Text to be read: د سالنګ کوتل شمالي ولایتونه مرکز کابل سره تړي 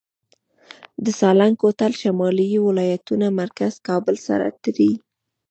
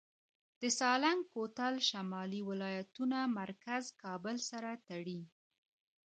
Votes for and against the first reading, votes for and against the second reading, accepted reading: 0, 2, 2, 0, second